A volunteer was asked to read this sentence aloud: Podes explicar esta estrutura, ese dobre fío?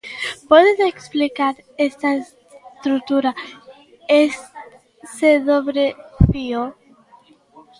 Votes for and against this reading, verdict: 1, 2, rejected